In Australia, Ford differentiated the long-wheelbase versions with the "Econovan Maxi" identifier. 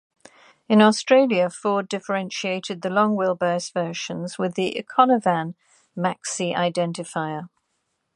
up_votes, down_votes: 2, 1